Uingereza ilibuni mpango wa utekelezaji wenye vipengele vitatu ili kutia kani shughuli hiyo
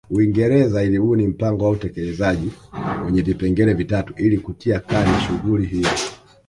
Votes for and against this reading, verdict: 1, 2, rejected